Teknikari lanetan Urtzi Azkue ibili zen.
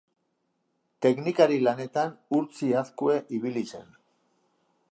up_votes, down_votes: 2, 0